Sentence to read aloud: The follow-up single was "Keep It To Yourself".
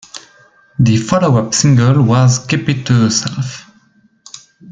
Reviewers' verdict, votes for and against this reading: accepted, 2, 0